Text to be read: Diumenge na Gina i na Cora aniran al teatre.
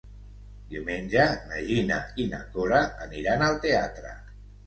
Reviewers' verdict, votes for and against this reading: accepted, 3, 0